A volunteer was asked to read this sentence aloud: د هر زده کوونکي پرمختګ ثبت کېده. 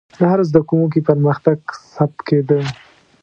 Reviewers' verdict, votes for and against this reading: accepted, 2, 0